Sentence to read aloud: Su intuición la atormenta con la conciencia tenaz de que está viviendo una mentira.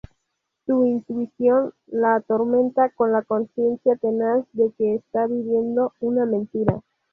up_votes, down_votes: 2, 2